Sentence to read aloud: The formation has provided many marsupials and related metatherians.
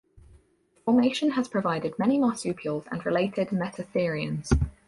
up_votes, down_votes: 2, 2